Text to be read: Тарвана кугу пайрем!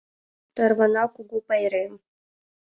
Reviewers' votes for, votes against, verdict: 2, 0, accepted